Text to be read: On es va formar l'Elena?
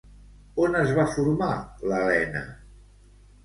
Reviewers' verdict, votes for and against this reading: accepted, 2, 0